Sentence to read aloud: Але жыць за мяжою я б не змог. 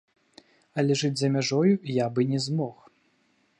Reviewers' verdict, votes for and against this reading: rejected, 0, 2